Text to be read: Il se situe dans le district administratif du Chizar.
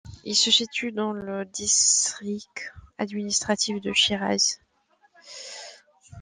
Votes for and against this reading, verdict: 1, 2, rejected